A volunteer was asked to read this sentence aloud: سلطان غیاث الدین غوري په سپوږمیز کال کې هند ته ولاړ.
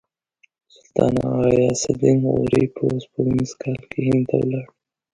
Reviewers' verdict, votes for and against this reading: rejected, 0, 2